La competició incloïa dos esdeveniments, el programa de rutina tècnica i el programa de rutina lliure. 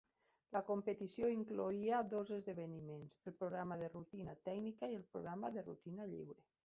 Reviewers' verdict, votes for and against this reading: accepted, 3, 1